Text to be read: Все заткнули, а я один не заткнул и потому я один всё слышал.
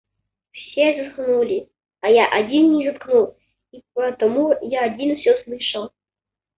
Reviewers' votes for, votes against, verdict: 0, 2, rejected